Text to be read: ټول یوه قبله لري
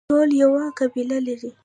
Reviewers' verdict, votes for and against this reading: rejected, 0, 2